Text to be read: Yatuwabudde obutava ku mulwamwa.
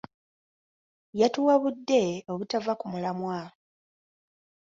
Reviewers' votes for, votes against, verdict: 1, 2, rejected